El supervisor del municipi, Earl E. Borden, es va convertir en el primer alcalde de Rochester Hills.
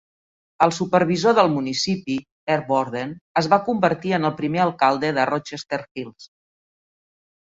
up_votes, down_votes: 2, 0